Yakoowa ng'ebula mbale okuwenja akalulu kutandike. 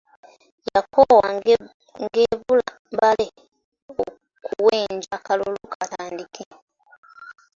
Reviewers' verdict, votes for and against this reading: rejected, 1, 2